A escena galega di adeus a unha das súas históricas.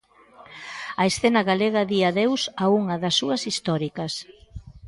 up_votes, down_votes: 2, 0